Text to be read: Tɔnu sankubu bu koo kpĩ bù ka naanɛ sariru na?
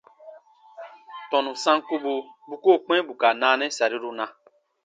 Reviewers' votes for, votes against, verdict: 2, 0, accepted